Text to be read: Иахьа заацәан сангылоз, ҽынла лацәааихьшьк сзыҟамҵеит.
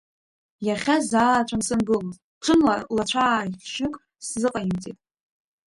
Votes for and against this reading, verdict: 1, 2, rejected